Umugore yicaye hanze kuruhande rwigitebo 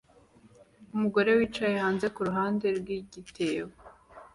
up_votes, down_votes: 2, 0